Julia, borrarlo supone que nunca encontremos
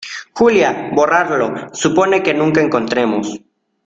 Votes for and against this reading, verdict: 2, 0, accepted